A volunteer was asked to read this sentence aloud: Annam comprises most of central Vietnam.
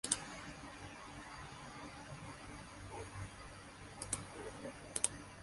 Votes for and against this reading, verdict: 0, 2, rejected